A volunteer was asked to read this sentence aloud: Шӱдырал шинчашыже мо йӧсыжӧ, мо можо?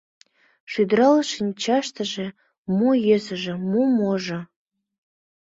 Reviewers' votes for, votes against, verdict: 3, 4, rejected